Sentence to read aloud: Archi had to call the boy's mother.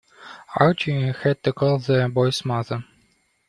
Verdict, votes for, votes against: accepted, 2, 0